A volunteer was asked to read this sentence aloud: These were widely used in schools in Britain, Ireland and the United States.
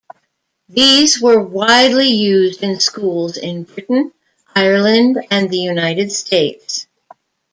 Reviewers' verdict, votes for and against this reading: accepted, 2, 0